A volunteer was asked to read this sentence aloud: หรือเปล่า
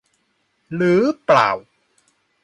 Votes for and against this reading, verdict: 2, 0, accepted